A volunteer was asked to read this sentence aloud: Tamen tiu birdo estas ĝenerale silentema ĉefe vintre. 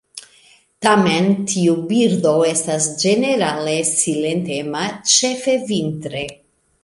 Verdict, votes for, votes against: accepted, 2, 0